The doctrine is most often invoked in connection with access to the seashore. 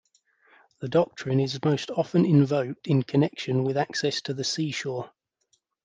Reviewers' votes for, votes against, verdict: 2, 0, accepted